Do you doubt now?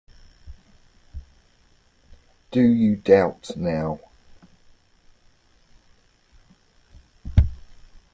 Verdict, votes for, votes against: accepted, 2, 1